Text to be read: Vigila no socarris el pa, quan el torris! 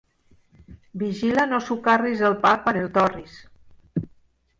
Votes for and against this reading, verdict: 2, 0, accepted